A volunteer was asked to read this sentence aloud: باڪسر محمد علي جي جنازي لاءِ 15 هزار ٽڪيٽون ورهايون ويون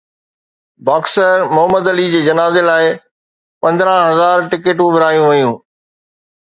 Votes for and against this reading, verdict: 0, 2, rejected